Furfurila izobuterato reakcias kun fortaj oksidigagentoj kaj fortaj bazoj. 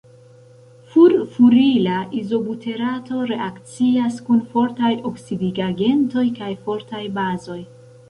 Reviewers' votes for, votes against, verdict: 0, 2, rejected